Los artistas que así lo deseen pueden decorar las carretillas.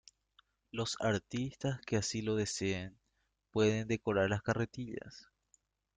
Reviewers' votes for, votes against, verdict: 2, 0, accepted